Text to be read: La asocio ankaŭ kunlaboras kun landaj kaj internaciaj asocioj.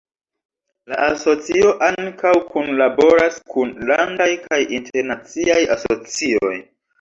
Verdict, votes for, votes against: rejected, 1, 2